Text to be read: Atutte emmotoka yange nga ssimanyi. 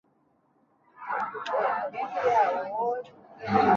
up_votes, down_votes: 0, 2